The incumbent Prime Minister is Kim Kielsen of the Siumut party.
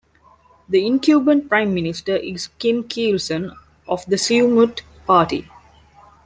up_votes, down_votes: 0, 2